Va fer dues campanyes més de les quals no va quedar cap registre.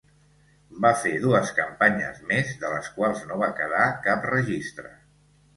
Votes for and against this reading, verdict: 2, 0, accepted